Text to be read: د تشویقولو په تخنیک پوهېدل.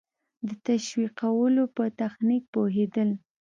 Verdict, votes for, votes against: accepted, 2, 0